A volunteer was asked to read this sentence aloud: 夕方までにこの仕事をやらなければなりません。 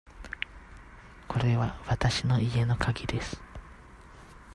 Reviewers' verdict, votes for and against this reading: rejected, 0, 2